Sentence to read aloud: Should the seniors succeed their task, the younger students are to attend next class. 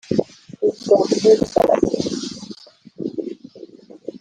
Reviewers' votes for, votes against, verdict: 0, 2, rejected